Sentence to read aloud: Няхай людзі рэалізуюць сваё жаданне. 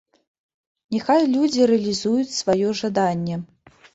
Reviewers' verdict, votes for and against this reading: accepted, 2, 0